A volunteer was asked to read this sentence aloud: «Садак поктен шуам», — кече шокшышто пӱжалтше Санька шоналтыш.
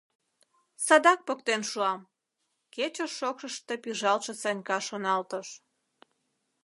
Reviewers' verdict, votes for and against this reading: accepted, 2, 0